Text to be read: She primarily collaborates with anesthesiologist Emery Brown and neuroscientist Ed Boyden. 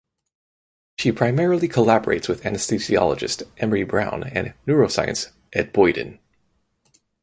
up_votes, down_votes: 0, 2